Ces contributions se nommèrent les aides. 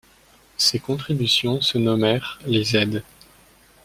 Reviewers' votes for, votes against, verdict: 2, 0, accepted